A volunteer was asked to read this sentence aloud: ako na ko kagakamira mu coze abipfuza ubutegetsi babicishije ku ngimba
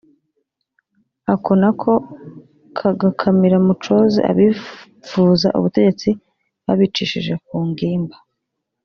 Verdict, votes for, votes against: rejected, 0, 2